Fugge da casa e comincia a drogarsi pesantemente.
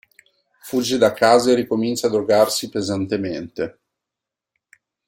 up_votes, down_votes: 0, 2